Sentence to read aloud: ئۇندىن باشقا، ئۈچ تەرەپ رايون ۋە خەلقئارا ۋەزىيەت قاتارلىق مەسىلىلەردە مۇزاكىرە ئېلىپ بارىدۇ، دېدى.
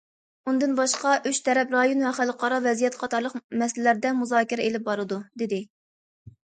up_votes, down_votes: 2, 0